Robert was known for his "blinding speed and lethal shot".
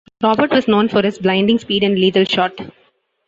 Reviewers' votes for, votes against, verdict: 2, 0, accepted